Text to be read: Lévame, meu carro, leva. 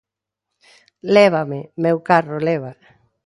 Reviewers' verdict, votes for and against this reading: accepted, 2, 0